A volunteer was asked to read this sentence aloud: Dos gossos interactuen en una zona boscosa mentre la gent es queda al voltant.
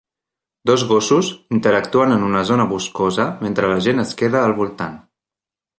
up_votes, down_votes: 3, 1